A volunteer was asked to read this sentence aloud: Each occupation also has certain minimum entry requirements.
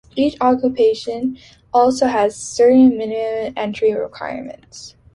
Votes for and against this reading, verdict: 2, 1, accepted